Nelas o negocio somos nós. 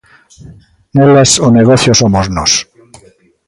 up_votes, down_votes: 1, 2